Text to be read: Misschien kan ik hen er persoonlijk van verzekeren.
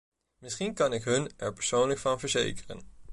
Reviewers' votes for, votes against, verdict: 1, 2, rejected